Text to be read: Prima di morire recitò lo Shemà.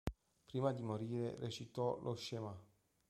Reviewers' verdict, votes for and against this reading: accepted, 2, 0